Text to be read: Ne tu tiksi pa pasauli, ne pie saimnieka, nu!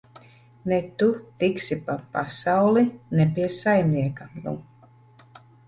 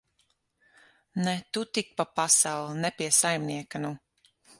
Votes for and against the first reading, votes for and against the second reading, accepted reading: 2, 1, 0, 6, first